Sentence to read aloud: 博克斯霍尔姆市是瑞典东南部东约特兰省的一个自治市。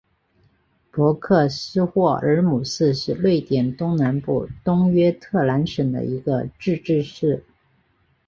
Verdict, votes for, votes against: accepted, 3, 0